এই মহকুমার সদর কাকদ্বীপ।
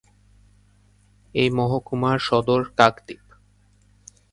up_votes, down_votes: 2, 0